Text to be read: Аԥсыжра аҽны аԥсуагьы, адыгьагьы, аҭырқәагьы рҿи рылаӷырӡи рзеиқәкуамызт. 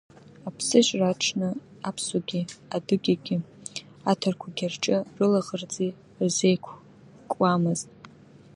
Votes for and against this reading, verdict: 1, 2, rejected